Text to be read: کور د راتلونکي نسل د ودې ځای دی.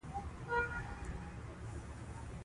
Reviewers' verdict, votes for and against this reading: rejected, 1, 2